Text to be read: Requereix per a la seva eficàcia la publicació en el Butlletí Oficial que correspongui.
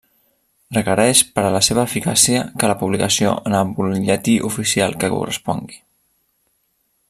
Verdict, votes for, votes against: rejected, 1, 2